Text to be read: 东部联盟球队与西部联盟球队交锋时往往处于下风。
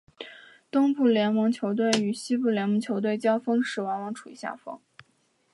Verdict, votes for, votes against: accepted, 2, 0